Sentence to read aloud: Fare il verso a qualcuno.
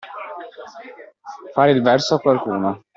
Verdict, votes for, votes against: accepted, 2, 0